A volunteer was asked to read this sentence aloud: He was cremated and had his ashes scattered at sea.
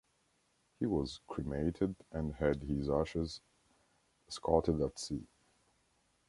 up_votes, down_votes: 0, 2